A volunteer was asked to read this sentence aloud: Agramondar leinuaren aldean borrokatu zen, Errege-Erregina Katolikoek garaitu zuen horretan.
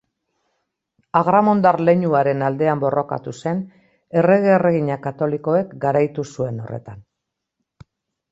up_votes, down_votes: 2, 0